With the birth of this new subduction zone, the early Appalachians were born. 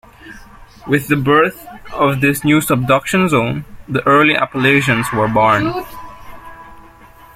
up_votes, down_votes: 1, 2